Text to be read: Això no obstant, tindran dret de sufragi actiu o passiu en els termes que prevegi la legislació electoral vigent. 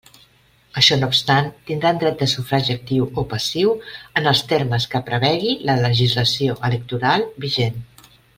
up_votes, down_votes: 2, 0